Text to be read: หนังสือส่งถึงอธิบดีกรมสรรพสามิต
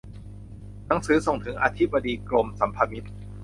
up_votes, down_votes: 0, 2